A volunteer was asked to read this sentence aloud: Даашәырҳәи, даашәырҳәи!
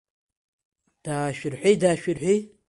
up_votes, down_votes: 2, 1